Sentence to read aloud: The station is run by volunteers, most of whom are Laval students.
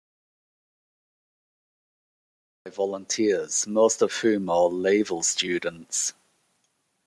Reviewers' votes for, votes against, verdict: 0, 2, rejected